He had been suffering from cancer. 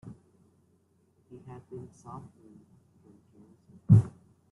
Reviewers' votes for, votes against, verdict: 0, 2, rejected